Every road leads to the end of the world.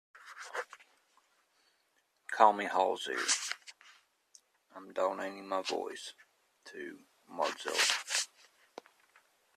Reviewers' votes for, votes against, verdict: 0, 2, rejected